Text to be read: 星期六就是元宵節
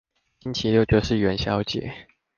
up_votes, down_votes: 2, 0